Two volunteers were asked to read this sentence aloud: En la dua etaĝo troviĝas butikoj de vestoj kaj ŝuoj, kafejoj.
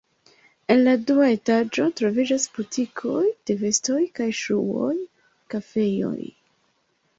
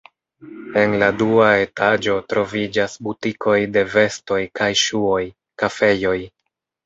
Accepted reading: first